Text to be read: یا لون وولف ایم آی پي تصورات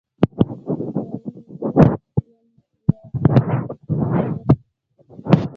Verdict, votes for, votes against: rejected, 0, 2